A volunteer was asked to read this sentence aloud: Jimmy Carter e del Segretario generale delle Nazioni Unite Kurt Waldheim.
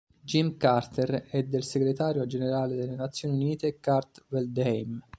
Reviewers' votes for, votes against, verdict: 0, 2, rejected